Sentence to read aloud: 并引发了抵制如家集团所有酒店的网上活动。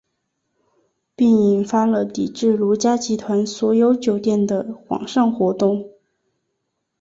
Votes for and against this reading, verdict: 4, 0, accepted